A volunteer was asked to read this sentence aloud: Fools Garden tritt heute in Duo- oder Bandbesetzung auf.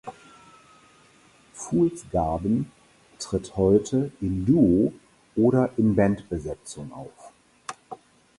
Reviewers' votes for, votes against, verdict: 0, 4, rejected